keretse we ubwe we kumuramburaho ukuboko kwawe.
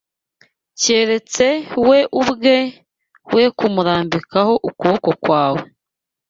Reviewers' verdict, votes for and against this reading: rejected, 1, 2